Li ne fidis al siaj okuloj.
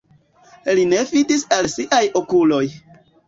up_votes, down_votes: 2, 0